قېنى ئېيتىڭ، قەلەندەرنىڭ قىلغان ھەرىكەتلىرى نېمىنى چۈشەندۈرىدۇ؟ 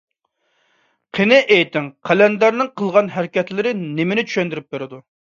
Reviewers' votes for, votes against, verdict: 0, 2, rejected